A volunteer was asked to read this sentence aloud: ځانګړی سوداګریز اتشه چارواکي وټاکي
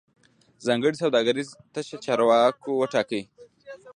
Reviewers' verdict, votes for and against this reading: rejected, 1, 2